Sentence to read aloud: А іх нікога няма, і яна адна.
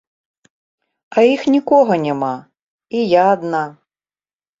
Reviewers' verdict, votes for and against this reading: rejected, 0, 2